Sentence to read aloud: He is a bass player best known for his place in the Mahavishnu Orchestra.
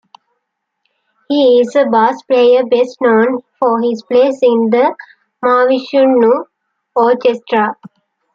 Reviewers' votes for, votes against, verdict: 2, 0, accepted